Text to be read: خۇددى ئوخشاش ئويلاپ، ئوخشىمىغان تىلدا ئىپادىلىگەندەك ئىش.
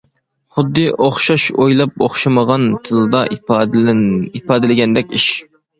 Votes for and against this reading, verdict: 1, 2, rejected